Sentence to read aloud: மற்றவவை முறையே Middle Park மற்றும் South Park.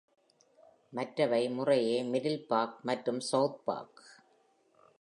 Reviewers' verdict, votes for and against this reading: accepted, 2, 0